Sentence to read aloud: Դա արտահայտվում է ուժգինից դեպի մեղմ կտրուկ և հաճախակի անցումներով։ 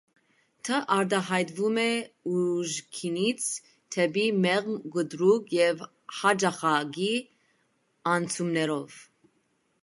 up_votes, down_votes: 1, 2